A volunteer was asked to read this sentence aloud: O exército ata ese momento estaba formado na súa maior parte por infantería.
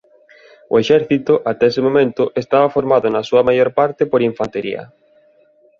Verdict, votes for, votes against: accepted, 2, 0